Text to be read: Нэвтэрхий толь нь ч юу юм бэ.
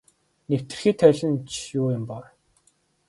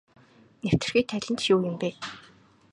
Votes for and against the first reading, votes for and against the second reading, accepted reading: 1, 2, 2, 0, second